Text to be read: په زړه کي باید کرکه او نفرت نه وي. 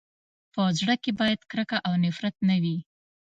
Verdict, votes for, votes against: accepted, 2, 0